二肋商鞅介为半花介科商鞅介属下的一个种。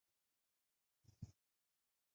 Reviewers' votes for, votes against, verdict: 0, 5, rejected